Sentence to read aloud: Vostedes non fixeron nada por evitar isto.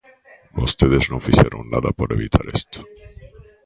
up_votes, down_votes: 1, 2